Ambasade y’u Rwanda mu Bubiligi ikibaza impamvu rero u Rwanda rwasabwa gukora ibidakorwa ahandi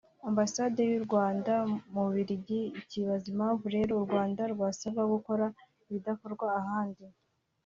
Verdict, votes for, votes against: accepted, 2, 0